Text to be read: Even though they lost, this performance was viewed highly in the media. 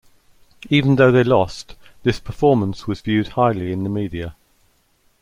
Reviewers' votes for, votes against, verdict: 2, 0, accepted